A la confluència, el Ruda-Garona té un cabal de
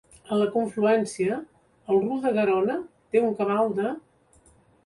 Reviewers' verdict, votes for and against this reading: accepted, 2, 0